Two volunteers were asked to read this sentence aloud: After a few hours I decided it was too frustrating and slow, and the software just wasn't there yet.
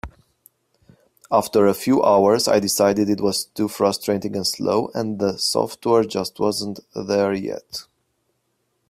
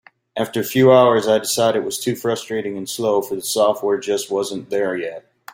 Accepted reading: first